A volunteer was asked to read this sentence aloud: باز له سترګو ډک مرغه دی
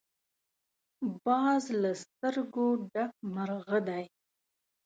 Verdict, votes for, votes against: accepted, 2, 0